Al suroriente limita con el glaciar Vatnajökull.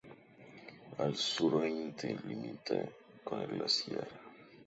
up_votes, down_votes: 0, 2